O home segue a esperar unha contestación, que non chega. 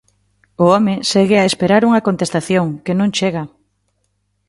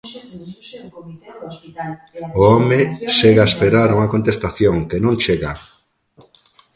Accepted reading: first